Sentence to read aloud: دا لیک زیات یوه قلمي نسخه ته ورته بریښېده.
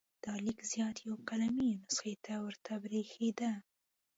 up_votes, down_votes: 2, 0